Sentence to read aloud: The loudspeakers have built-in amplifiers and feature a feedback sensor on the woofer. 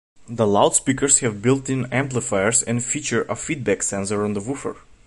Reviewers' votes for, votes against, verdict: 2, 0, accepted